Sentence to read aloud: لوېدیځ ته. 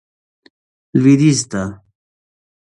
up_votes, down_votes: 2, 1